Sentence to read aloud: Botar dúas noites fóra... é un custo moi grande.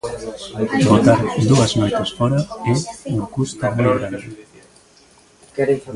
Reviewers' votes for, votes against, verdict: 0, 3, rejected